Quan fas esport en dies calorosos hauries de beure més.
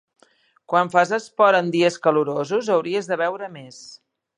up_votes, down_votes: 2, 0